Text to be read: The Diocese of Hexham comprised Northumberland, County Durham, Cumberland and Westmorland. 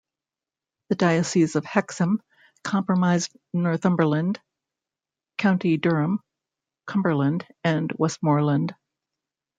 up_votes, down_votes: 0, 2